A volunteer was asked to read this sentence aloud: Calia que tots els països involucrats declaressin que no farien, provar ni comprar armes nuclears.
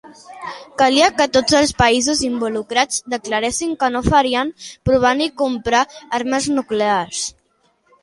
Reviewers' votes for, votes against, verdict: 3, 1, accepted